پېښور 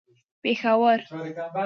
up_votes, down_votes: 1, 2